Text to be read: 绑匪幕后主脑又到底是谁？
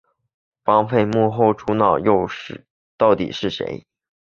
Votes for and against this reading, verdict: 2, 0, accepted